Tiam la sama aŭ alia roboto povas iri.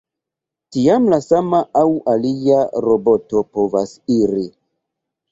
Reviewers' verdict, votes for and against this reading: rejected, 1, 2